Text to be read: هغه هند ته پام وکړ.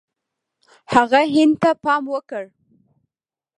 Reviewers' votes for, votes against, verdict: 1, 2, rejected